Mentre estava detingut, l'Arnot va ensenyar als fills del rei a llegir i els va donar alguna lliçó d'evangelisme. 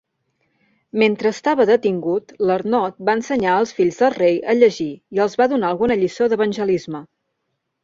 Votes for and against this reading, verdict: 2, 0, accepted